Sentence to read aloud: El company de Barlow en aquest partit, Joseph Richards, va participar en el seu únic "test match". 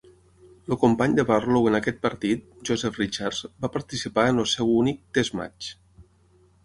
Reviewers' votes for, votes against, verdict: 3, 6, rejected